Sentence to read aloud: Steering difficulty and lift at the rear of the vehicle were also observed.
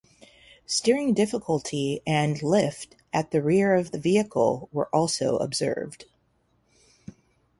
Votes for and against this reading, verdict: 2, 0, accepted